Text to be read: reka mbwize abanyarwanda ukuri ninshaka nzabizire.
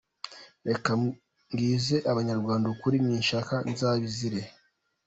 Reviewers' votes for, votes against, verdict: 2, 1, accepted